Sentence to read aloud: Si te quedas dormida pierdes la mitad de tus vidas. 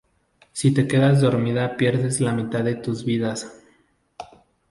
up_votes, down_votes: 2, 0